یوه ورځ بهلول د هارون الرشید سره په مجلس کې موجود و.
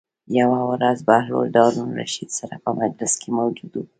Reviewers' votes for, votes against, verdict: 1, 2, rejected